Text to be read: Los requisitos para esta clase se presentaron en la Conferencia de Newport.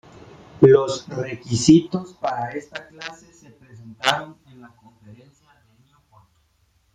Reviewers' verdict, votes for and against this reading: rejected, 0, 2